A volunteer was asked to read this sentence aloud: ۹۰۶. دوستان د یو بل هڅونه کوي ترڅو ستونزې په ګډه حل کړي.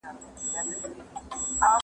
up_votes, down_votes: 0, 2